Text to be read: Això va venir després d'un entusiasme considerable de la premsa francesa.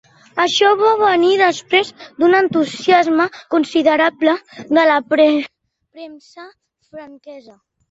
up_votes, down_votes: 0, 2